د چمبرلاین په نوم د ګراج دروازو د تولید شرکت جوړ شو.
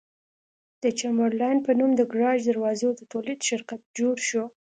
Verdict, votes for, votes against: accepted, 2, 0